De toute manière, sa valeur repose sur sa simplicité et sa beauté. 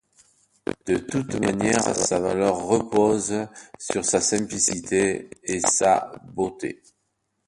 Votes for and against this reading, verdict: 2, 0, accepted